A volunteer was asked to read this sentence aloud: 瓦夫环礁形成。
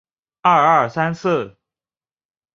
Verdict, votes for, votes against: rejected, 0, 2